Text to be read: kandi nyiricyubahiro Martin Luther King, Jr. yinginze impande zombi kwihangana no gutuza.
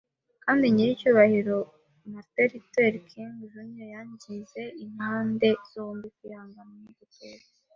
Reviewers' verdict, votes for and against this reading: rejected, 1, 2